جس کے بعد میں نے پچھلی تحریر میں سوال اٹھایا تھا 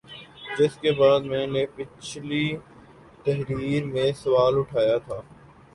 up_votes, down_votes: 5, 1